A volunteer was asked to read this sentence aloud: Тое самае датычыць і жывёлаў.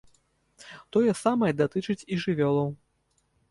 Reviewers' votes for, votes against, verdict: 2, 1, accepted